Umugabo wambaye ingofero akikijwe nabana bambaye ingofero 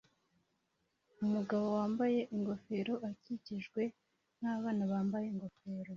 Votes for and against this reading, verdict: 2, 0, accepted